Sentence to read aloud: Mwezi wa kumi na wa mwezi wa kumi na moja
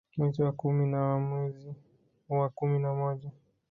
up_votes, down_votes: 2, 0